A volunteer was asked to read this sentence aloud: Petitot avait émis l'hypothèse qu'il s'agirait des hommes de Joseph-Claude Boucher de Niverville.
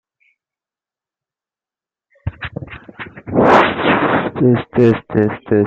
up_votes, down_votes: 0, 2